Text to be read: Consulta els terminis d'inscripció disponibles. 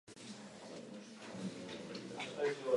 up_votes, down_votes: 1, 2